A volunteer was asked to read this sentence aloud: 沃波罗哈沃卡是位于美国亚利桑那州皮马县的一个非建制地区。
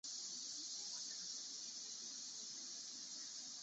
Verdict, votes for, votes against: rejected, 0, 2